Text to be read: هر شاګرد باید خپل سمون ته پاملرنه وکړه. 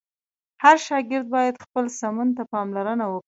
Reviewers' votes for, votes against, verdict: 2, 0, accepted